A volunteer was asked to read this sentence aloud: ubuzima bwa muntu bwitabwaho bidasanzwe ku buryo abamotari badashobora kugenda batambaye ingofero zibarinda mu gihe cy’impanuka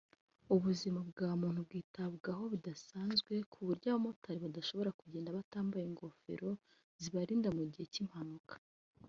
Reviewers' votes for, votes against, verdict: 0, 2, rejected